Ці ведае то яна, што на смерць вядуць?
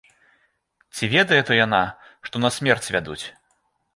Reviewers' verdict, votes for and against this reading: accepted, 2, 0